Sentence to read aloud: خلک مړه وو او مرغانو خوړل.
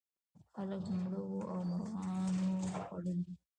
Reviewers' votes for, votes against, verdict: 2, 0, accepted